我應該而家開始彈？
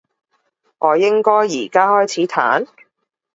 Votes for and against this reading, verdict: 2, 0, accepted